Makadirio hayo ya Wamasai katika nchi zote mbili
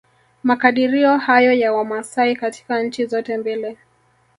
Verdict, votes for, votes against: accepted, 3, 1